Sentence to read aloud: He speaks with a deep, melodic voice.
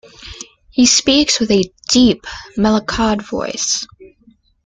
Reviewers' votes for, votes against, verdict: 0, 2, rejected